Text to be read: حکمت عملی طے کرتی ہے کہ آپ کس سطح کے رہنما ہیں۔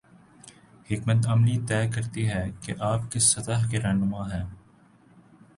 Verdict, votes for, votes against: accepted, 2, 0